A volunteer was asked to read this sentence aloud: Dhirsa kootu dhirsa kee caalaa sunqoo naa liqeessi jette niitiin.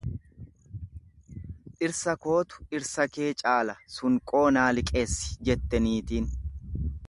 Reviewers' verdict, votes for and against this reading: rejected, 1, 2